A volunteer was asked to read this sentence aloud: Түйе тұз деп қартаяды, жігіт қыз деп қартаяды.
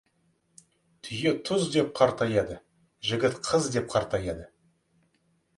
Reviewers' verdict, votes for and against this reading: accepted, 2, 0